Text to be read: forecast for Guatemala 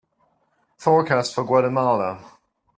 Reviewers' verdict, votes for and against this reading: accepted, 2, 0